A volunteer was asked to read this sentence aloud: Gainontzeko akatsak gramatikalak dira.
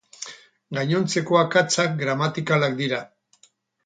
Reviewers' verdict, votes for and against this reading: accepted, 4, 0